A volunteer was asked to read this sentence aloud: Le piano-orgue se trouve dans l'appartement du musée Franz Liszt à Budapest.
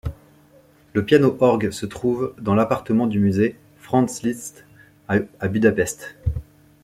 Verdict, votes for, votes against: rejected, 1, 2